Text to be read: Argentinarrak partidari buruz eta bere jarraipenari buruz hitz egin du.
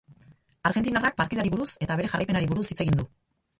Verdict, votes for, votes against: accepted, 2, 0